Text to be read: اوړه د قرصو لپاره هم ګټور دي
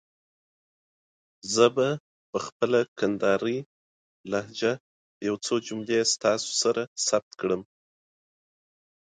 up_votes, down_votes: 0, 2